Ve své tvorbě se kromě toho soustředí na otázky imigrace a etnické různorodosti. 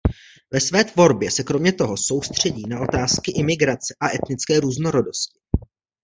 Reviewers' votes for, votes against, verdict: 2, 0, accepted